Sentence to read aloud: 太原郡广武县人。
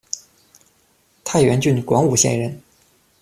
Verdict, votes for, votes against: accepted, 2, 0